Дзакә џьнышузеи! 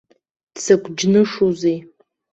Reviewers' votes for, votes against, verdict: 2, 0, accepted